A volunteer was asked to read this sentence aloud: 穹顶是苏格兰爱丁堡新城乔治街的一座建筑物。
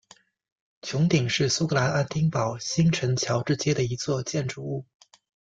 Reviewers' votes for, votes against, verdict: 2, 0, accepted